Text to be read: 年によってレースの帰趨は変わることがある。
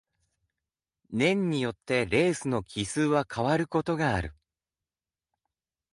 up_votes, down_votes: 2, 0